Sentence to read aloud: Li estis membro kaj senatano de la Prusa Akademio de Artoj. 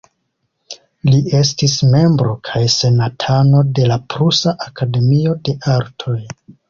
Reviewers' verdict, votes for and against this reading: accepted, 2, 0